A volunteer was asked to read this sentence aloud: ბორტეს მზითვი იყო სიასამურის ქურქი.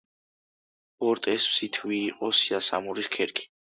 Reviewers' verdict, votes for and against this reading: rejected, 0, 2